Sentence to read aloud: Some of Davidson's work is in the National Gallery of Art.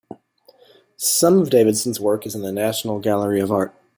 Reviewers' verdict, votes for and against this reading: accepted, 2, 0